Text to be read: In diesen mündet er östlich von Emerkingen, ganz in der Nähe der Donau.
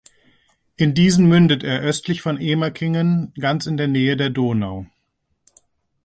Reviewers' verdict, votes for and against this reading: accepted, 2, 0